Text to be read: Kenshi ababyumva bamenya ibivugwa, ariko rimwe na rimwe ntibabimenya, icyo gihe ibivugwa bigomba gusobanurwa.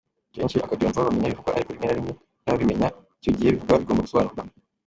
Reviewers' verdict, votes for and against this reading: rejected, 0, 2